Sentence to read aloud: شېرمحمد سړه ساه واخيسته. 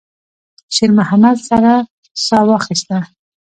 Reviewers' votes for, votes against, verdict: 2, 0, accepted